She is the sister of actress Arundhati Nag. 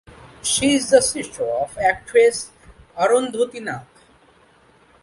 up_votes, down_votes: 2, 1